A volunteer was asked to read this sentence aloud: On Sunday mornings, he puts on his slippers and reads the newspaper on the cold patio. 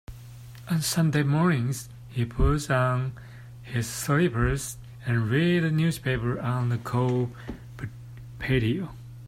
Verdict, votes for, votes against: rejected, 1, 2